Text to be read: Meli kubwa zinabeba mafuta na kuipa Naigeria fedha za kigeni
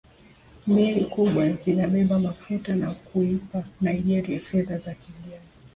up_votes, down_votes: 1, 2